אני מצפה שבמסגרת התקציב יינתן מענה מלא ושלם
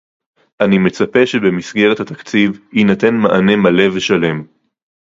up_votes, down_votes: 2, 0